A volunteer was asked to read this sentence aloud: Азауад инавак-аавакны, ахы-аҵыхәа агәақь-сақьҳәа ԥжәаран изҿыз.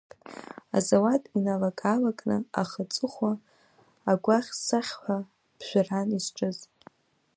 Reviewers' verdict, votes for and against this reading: rejected, 1, 2